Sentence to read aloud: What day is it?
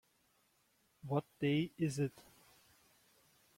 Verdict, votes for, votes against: accepted, 2, 0